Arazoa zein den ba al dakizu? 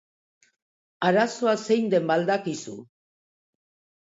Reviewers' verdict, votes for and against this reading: accepted, 2, 0